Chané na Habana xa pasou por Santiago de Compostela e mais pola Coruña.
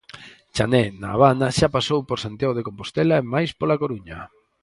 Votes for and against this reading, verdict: 6, 0, accepted